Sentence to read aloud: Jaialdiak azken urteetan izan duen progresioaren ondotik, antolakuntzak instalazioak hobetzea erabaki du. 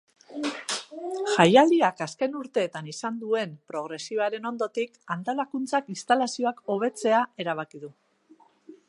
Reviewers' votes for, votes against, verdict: 2, 0, accepted